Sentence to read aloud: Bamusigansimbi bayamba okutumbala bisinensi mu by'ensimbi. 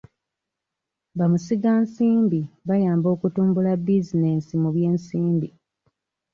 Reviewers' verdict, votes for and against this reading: rejected, 1, 2